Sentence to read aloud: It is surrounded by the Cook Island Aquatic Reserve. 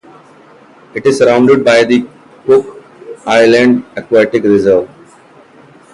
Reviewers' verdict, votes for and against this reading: rejected, 1, 2